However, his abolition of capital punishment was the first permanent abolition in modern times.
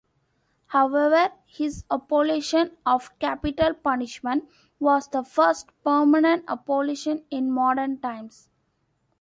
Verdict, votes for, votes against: accepted, 2, 1